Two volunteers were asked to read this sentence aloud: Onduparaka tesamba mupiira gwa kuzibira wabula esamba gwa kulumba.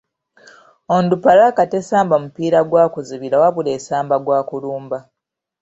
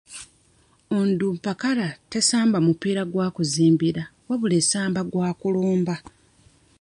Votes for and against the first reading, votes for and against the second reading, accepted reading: 2, 1, 0, 2, first